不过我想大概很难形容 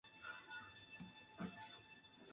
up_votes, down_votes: 1, 4